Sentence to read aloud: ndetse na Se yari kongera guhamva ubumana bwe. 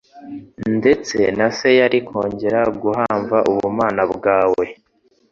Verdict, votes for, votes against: rejected, 0, 2